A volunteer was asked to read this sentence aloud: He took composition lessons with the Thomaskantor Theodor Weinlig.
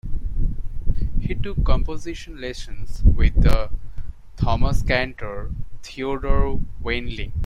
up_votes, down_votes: 1, 2